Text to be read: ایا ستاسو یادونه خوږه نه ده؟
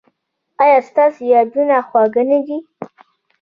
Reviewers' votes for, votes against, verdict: 2, 0, accepted